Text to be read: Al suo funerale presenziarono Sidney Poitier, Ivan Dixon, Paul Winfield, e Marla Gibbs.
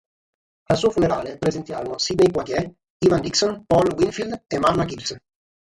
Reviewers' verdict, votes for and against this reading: accepted, 6, 0